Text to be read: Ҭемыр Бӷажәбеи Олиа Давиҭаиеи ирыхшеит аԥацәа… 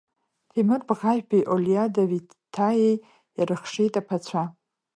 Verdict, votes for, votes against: rejected, 1, 2